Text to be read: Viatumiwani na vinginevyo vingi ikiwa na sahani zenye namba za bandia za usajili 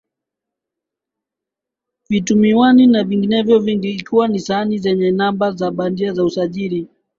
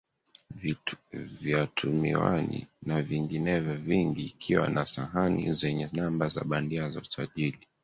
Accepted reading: first